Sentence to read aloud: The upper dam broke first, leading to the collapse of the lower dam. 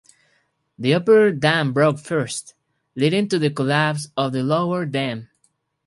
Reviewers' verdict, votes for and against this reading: accepted, 4, 0